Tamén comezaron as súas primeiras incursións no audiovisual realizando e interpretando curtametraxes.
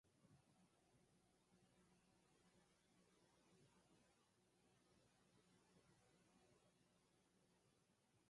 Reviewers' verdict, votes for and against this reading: rejected, 0, 4